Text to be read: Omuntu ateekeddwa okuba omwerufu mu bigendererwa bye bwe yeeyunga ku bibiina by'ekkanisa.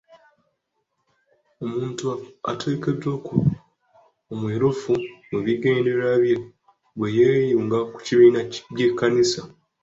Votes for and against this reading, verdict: 1, 2, rejected